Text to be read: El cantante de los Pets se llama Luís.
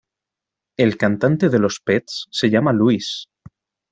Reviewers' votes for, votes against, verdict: 2, 0, accepted